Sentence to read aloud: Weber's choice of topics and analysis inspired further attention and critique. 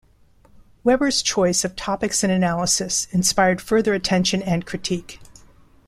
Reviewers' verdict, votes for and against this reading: accepted, 2, 0